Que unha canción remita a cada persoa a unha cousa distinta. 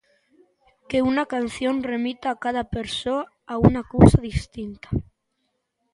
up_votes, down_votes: 0, 2